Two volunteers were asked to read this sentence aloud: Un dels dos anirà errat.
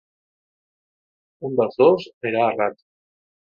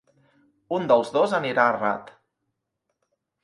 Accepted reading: second